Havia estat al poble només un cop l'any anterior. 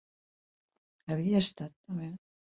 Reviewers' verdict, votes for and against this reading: rejected, 0, 3